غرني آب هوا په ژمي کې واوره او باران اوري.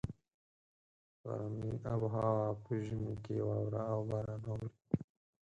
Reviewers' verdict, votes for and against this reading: rejected, 2, 4